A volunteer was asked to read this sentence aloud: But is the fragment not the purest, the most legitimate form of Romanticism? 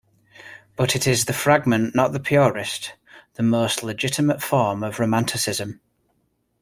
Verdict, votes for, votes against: rejected, 0, 2